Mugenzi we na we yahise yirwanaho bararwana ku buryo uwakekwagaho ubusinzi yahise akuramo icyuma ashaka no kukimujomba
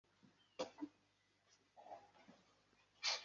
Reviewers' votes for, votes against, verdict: 1, 2, rejected